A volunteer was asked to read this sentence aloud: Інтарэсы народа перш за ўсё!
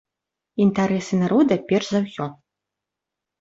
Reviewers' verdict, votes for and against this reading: accepted, 2, 0